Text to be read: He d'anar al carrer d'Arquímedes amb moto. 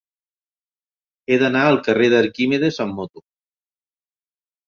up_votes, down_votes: 4, 0